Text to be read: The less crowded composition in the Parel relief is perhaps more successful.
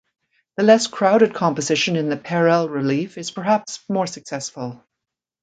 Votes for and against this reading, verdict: 2, 0, accepted